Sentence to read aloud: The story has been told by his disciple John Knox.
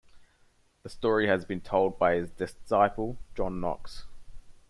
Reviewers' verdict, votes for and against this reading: accepted, 2, 0